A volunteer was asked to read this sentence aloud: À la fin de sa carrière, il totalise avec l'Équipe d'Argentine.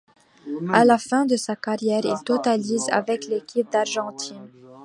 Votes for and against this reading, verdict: 2, 1, accepted